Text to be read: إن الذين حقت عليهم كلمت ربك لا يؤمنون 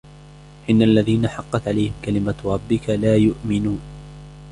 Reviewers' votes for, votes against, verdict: 2, 1, accepted